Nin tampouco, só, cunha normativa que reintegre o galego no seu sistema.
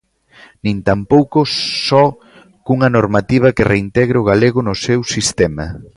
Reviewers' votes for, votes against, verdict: 2, 0, accepted